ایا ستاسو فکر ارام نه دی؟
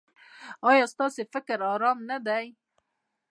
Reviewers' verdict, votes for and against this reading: rejected, 1, 2